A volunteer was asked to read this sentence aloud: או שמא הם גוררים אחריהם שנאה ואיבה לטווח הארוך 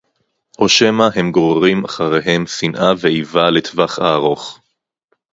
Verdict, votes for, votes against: accepted, 4, 0